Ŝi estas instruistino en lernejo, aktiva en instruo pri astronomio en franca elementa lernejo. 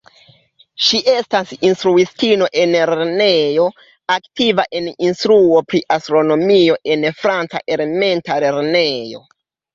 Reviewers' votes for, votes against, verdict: 2, 0, accepted